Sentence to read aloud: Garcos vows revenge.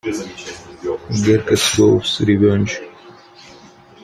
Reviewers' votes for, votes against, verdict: 0, 2, rejected